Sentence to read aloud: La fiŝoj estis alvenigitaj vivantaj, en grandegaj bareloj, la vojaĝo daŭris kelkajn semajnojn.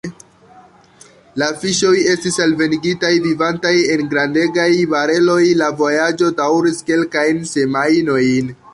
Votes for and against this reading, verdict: 3, 0, accepted